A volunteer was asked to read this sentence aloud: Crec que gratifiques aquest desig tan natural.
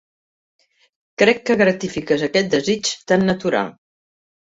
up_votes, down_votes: 3, 0